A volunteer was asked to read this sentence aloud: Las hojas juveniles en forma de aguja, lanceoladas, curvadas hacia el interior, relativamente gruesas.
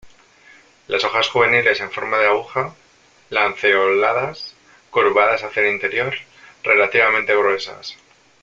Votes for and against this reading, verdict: 1, 2, rejected